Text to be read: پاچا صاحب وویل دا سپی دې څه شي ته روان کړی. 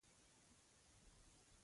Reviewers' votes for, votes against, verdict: 2, 1, accepted